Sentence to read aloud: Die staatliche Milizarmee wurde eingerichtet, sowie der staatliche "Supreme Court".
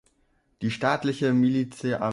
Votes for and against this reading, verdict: 0, 2, rejected